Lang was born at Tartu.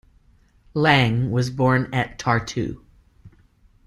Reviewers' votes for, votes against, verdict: 2, 0, accepted